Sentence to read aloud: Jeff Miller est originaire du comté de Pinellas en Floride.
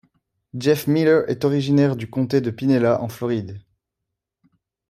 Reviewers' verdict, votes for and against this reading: accepted, 2, 0